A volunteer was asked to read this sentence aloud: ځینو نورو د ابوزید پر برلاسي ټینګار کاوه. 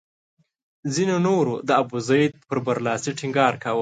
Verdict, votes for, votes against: accepted, 2, 0